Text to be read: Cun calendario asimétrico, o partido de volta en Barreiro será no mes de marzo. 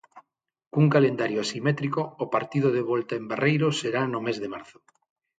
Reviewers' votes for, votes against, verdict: 6, 0, accepted